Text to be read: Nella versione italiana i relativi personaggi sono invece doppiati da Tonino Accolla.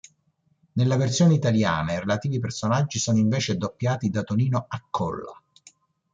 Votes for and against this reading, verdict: 2, 0, accepted